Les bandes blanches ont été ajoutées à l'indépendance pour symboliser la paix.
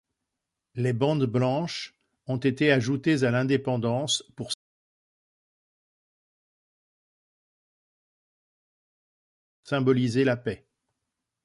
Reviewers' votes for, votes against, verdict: 0, 2, rejected